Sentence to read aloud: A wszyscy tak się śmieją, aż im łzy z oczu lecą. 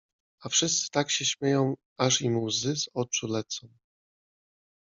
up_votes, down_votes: 2, 0